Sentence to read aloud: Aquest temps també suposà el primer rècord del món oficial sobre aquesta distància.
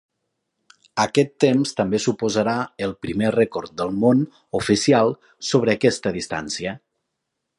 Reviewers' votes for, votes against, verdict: 0, 2, rejected